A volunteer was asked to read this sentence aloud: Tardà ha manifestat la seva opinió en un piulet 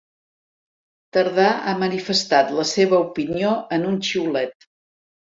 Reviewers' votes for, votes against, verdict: 0, 2, rejected